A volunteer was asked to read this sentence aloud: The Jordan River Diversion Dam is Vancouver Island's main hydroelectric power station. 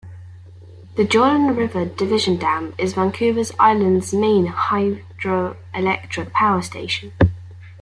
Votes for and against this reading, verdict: 2, 1, accepted